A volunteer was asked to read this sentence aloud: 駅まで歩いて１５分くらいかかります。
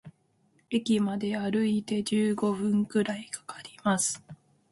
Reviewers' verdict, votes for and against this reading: rejected, 0, 2